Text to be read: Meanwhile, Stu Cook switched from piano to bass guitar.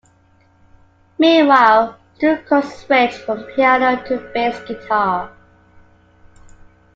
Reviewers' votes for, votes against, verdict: 2, 1, accepted